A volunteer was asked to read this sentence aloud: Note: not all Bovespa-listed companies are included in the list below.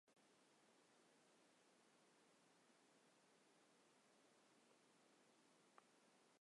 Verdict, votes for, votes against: rejected, 0, 2